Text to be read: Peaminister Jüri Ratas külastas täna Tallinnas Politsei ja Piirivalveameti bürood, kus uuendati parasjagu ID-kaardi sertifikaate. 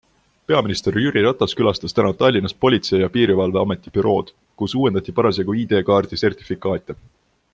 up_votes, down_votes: 2, 0